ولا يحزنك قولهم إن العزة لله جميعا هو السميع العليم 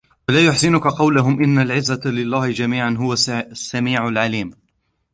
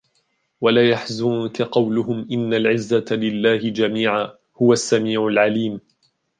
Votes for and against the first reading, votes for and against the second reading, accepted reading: 1, 2, 2, 0, second